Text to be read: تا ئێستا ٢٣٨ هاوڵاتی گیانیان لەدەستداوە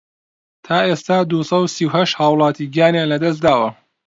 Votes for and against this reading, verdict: 0, 2, rejected